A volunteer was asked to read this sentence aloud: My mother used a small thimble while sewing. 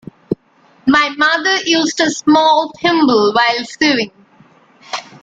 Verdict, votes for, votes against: rejected, 1, 2